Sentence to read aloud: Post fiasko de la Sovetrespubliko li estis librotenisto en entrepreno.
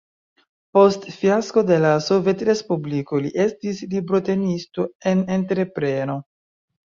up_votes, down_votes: 2, 0